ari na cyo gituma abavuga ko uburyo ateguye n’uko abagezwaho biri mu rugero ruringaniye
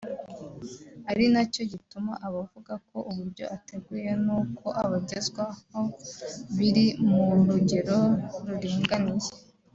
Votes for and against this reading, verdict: 2, 0, accepted